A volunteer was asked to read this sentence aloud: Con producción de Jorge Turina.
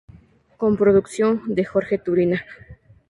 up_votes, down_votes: 4, 2